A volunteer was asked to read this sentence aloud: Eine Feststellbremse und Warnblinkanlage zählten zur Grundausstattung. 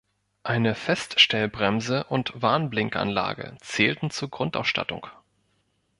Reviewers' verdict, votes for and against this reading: accepted, 2, 0